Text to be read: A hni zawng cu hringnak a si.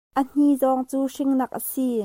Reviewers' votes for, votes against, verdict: 2, 0, accepted